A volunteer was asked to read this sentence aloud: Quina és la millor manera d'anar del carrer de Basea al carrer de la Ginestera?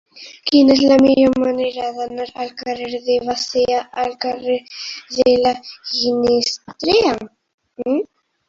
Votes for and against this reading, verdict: 1, 4, rejected